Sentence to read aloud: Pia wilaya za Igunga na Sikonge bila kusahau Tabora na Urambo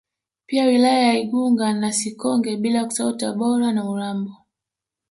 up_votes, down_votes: 2, 0